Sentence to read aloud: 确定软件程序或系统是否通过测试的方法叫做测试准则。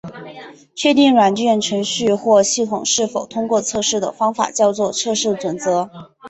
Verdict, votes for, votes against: accepted, 3, 0